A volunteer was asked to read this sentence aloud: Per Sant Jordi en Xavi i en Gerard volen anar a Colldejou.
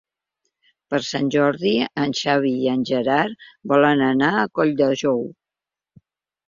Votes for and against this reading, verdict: 3, 0, accepted